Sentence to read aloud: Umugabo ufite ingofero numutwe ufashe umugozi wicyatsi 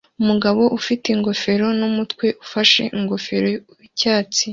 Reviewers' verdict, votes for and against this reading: rejected, 1, 2